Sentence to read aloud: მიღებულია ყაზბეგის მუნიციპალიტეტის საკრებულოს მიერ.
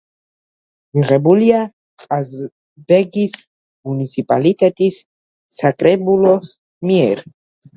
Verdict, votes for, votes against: rejected, 1, 2